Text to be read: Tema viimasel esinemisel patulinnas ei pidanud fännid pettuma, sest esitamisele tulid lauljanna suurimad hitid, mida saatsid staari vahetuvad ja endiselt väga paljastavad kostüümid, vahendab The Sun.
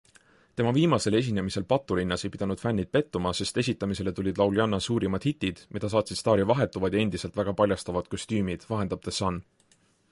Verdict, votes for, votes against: accepted, 2, 0